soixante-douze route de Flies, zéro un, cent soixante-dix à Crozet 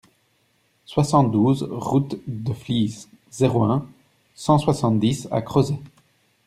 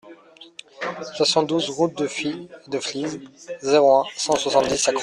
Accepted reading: first